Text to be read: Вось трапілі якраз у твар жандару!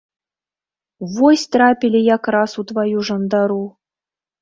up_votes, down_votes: 1, 2